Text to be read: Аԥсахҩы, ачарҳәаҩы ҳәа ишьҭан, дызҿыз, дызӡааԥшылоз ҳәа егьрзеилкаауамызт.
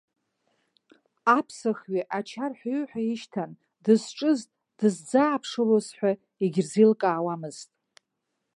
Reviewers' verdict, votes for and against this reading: rejected, 0, 2